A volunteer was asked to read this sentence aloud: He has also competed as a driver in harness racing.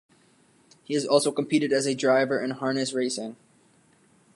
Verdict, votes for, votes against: accepted, 2, 0